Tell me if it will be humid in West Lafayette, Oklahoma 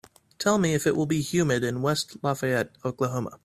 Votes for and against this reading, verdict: 4, 0, accepted